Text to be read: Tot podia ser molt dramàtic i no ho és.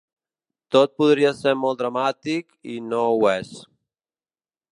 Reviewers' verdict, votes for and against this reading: rejected, 2, 3